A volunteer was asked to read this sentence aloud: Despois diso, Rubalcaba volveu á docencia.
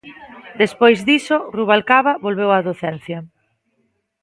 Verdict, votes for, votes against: accepted, 2, 0